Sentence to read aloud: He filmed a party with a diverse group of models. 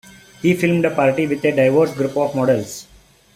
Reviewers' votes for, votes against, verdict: 2, 1, accepted